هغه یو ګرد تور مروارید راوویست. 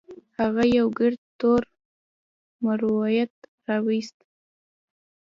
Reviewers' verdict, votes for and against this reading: rejected, 0, 2